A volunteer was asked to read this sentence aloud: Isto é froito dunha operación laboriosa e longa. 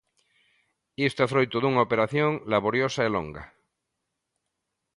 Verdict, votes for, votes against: accepted, 2, 0